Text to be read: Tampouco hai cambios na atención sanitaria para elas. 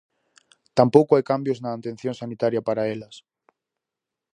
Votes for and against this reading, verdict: 4, 0, accepted